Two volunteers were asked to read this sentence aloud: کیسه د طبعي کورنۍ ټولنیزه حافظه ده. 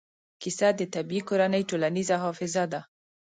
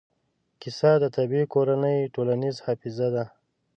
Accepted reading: first